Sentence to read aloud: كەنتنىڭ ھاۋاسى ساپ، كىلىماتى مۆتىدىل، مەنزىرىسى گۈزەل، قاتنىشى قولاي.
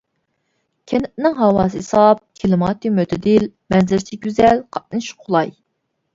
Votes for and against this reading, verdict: 0, 2, rejected